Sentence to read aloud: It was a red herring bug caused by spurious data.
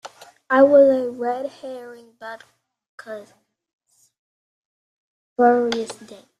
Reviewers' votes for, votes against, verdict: 0, 2, rejected